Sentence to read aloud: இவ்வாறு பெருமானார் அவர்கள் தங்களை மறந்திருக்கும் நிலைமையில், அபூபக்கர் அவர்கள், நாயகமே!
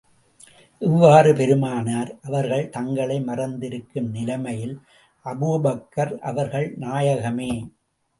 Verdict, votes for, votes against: accepted, 2, 0